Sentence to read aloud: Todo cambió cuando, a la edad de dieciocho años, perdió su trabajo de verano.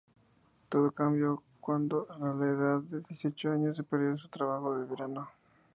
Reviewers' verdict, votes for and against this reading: accepted, 4, 0